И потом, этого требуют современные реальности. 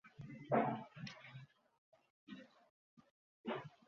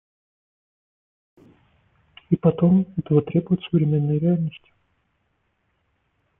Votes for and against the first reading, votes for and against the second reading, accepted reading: 0, 2, 2, 0, second